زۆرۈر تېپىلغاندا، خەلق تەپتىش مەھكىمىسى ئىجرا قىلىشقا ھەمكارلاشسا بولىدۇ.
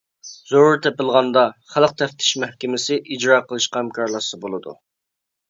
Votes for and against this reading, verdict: 2, 1, accepted